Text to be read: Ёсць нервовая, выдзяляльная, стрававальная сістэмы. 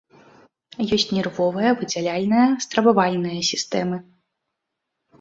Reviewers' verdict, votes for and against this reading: accepted, 2, 0